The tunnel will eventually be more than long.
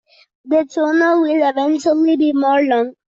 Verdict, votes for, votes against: rejected, 1, 2